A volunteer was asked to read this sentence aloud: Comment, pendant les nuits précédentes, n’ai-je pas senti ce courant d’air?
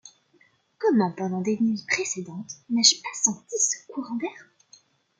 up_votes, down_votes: 0, 2